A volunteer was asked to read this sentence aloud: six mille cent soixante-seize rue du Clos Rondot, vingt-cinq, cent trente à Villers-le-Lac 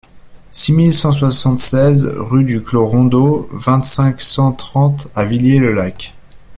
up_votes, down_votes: 2, 0